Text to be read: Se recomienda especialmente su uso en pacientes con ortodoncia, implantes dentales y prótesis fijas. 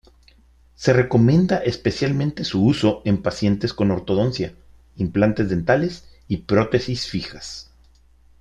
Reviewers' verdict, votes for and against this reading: accepted, 2, 0